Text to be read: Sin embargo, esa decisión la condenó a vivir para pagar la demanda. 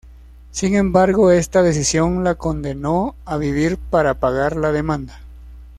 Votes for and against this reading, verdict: 0, 2, rejected